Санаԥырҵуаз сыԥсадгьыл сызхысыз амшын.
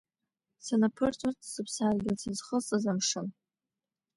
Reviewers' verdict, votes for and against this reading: accepted, 2, 1